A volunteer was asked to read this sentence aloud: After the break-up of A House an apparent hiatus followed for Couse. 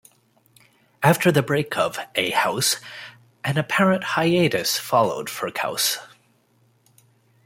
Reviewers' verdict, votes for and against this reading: rejected, 1, 2